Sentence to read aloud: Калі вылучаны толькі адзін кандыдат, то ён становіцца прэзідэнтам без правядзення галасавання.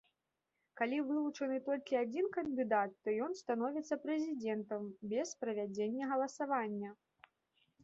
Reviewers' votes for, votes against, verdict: 1, 2, rejected